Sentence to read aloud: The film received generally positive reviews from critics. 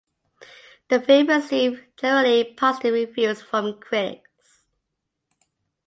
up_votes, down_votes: 2, 0